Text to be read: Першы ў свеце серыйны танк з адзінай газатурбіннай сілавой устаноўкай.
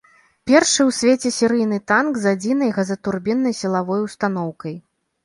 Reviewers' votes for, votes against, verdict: 2, 0, accepted